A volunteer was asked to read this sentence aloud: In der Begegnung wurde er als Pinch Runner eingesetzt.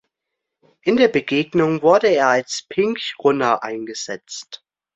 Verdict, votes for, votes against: rejected, 1, 2